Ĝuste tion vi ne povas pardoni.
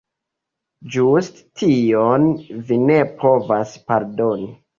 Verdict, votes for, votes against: accepted, 2, 1